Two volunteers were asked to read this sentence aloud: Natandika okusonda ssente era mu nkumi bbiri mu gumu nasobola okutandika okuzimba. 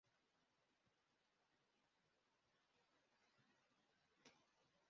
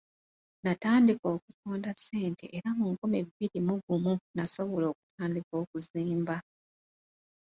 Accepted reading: second